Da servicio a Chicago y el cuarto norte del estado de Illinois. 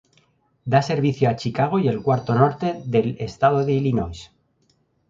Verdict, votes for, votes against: rejected, 0, 2